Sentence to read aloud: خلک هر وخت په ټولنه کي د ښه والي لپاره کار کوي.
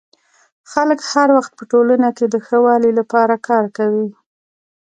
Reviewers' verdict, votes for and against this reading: rejected, 0, 2